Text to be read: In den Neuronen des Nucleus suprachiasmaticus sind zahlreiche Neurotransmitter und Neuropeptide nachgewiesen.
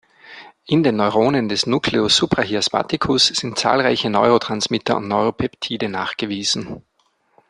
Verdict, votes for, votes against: accepted, 2, 0